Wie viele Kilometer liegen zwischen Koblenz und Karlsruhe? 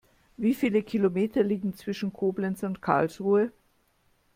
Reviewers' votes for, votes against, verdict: 2, 0, accepted